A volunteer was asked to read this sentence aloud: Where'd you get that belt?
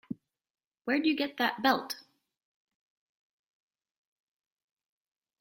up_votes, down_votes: 3, 0